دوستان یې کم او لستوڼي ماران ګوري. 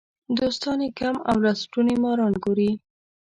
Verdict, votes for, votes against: rejected, 1, 2